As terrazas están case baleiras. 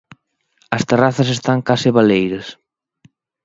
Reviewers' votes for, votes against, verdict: 3, 0, accepted